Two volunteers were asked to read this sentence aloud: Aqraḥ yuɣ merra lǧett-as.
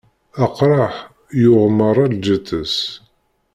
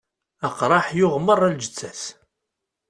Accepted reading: second